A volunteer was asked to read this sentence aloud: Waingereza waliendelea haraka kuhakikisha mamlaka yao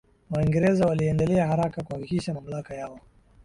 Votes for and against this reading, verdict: 2, 1, accepted